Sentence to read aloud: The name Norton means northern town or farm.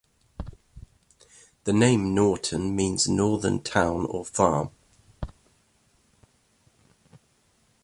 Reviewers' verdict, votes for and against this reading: accepted, 2, 1